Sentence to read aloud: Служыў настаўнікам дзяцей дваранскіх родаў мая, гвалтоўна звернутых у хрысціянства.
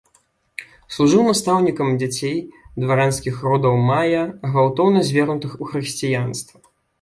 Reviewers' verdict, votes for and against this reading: accepted, 2, 0